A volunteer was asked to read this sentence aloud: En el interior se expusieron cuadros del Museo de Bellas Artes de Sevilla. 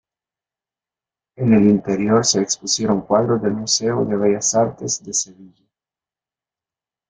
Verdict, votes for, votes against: rejected, 2, 3